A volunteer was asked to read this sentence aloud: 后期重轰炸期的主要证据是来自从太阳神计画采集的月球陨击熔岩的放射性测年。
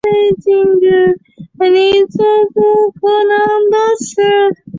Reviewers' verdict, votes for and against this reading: rejected, 0, 5